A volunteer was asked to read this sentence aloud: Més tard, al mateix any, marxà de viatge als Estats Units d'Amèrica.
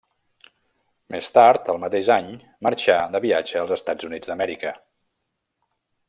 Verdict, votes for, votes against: accepted, 2, 0